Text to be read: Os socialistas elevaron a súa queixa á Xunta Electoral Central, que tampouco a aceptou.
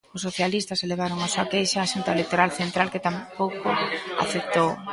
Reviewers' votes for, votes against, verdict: 0, 2, rejected